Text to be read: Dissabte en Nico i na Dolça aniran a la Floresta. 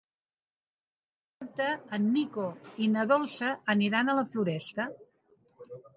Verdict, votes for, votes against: rejected, 0, 2